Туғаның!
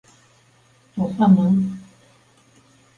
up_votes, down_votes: 0, 3